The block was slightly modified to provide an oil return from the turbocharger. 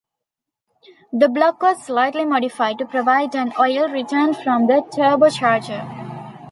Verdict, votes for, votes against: rejected, 1, 2